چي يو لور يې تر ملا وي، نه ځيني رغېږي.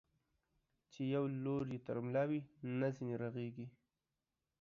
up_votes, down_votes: 2, 0